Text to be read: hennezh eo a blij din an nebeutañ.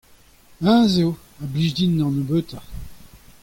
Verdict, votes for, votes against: accepted, 2, 0